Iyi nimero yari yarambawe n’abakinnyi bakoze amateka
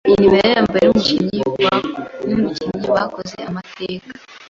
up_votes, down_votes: 1, 2